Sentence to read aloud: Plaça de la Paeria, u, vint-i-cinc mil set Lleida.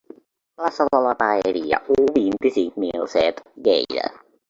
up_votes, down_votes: 1, 2